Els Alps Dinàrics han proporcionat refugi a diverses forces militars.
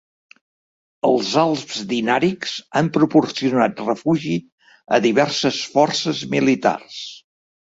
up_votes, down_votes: 1, 2